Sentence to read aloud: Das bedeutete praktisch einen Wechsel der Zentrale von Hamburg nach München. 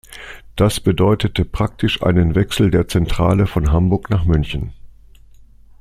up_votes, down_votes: 2, 0